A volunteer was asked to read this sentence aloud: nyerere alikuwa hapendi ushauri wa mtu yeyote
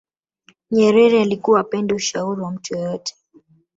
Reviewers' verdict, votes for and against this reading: accepted, 2, 1